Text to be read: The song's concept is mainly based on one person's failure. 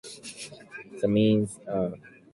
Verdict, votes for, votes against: rejected, 1, 2